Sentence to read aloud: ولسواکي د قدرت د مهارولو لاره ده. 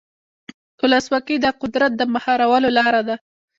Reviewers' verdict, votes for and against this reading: rejected, 0, 2